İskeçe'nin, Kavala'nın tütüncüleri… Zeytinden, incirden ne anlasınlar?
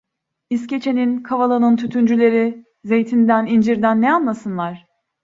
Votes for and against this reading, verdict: 2, 0, accepted